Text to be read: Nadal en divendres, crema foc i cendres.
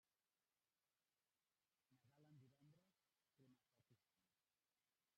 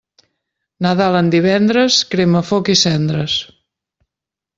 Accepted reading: second